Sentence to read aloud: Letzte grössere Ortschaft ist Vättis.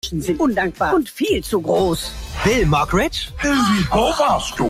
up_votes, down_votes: 0, 2